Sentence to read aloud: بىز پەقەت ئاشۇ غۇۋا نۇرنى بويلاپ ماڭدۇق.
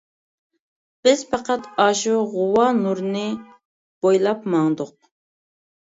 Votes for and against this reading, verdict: 2, 0, accepted